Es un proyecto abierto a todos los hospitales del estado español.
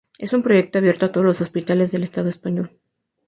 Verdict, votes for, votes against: rejected, 0, 2